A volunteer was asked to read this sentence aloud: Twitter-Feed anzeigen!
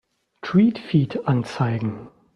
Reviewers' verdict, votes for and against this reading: rejected, 0, 2